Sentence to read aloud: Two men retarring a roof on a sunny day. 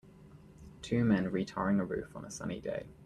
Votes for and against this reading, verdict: 2, 0, accepted